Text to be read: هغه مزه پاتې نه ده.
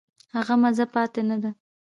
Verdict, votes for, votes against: accepted, 2, 0